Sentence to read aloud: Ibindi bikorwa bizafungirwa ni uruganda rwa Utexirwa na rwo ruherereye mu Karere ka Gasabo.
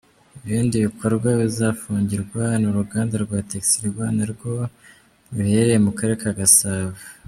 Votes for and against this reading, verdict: 2, 0, accepted